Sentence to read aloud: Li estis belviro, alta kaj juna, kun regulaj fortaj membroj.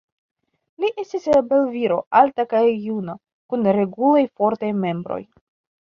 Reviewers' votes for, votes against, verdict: 2, 1, accepted